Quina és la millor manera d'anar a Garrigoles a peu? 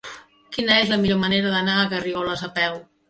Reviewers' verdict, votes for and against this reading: accepted, 2, 0